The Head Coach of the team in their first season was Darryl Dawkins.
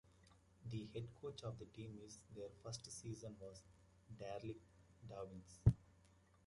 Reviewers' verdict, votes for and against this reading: rejected, 0, 2